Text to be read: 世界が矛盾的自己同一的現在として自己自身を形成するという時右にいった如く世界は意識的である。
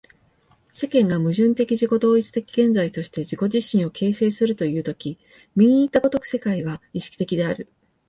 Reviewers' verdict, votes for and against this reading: accepted, 2, 0